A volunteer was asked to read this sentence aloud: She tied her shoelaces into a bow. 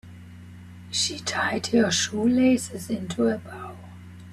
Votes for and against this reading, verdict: 2, 0, accepted